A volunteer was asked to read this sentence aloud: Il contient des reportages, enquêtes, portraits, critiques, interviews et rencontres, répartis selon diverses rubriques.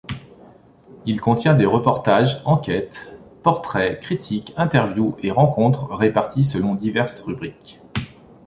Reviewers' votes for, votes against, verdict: 2, 0, accepted